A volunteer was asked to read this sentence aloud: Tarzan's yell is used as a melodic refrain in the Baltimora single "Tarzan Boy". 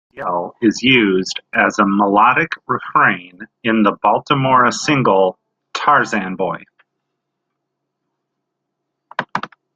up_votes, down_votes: 0, 2